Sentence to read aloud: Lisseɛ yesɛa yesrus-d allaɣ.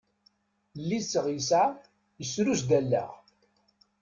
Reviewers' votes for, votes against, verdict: 1, 2, rejected